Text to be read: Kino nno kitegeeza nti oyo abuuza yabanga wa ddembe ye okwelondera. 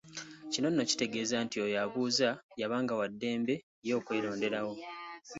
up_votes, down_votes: 2, 0